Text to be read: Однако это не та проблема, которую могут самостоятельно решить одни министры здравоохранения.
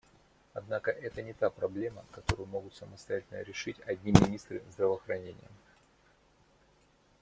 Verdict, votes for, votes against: rejected, 1, 2